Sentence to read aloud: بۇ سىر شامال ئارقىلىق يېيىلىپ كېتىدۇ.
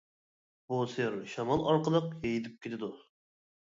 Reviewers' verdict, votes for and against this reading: rejected, 0, 2